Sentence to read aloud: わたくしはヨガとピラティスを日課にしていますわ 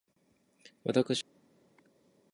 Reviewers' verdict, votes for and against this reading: rejected, 0, 2